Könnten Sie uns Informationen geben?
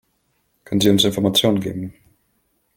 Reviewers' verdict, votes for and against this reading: accepted, 2, 1